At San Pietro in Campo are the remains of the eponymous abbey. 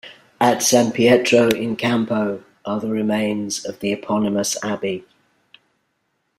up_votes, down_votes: 2, 0